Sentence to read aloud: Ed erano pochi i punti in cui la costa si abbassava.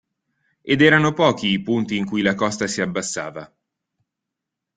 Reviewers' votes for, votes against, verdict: 2, 0, accepted